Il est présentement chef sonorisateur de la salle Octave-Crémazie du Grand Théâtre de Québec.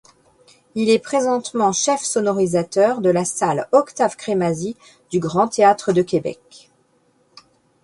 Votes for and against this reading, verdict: 2, 0, accepted